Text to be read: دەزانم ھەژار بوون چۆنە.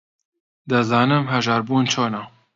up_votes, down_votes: 2, 0